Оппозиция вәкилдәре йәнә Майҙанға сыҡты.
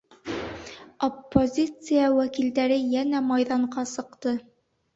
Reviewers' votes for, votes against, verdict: 2, 0, accepted